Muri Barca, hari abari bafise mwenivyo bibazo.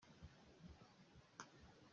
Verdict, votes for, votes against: rejected, 0, 2